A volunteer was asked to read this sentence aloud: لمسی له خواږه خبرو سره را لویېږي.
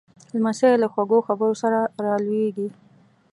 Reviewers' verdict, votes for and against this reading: accepted, 2, 0